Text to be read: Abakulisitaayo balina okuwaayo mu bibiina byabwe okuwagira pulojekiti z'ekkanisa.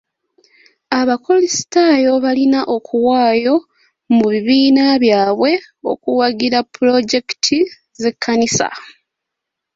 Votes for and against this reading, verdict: 2, 0, accepted